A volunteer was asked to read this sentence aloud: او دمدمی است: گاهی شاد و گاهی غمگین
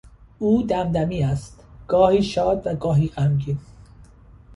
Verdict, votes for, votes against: accepted, 2, 0